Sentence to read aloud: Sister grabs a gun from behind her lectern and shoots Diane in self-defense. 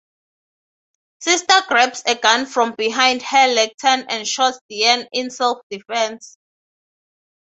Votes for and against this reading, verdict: 3, 3, rejected